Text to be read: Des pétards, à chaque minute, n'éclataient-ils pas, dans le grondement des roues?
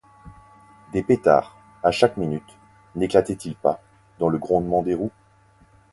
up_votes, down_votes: 4, 0